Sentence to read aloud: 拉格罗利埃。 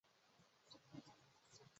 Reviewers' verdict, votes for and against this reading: rejected, 0, 3